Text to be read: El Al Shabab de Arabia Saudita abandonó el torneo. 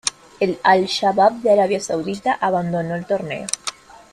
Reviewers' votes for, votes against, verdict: 2, 0, accepted